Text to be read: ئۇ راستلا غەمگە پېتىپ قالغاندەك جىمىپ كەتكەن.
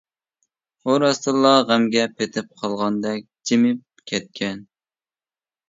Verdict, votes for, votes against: rejected, 0, 2